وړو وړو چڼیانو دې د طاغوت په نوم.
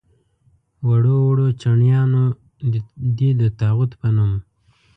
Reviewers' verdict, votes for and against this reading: rejected, 1, 2